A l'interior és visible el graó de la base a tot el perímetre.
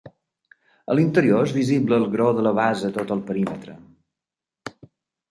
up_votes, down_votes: 2, 0